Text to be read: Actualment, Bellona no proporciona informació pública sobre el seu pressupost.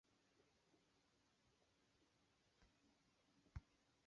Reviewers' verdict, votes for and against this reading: rejected, 0, 2